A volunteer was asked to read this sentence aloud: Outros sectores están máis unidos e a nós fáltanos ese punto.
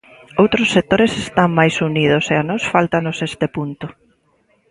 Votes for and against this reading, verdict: 0, 2, rejected